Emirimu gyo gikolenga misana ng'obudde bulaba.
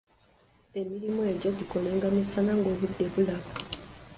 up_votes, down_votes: 1, 2